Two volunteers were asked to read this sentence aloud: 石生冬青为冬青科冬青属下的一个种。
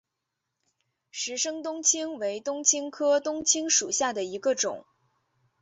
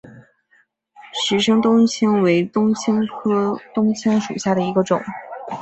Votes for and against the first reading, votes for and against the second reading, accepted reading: 0, 2, 3, 0, second